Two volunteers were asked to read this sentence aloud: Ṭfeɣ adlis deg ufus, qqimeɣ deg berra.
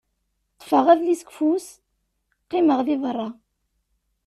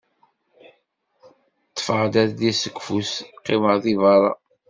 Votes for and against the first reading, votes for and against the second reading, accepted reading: 2, 0, 1, 2, first